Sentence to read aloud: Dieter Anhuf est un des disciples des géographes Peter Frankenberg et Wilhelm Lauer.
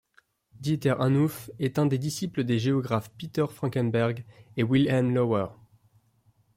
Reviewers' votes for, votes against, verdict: 3, 0, accepted